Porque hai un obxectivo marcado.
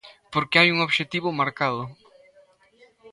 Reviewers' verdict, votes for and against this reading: accepted, 2, 0